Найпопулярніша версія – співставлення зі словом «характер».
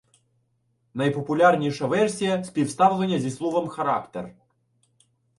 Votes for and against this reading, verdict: 2, 0, accepted